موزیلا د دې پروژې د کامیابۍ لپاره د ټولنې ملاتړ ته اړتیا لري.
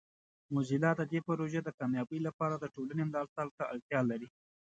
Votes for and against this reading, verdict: 2, 0, accepted